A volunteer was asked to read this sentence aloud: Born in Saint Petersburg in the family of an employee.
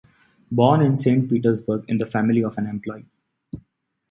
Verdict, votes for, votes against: accepted, 2, 0